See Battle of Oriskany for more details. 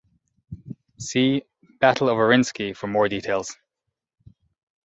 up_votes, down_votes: 0, 2